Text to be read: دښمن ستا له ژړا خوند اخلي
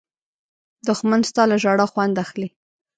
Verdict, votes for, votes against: accepted, 2, 0